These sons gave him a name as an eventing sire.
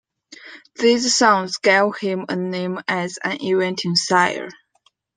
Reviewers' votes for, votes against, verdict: 1, 2, rejected